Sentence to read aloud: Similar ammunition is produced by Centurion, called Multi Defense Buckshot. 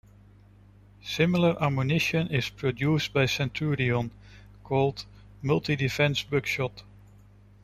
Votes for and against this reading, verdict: 0, 2, rejected